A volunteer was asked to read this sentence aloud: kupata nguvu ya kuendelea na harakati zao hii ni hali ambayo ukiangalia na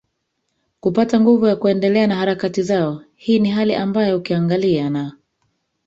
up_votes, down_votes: 0, 2